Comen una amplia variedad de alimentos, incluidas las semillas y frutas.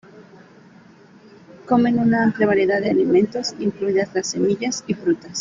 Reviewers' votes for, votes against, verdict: 2, 0, accepted